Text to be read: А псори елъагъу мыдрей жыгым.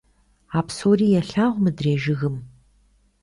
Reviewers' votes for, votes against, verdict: 2, 0, accepted